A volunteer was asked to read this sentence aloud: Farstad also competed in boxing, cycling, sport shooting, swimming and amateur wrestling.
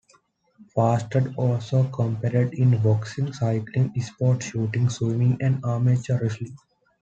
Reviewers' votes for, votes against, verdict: 2, 0, accepted